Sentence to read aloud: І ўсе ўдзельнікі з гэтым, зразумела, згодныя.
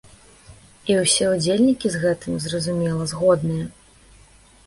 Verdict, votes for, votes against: accepted, 2, 0